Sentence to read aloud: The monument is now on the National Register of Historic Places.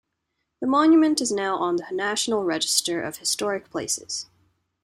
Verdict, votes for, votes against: accepted, 2, 0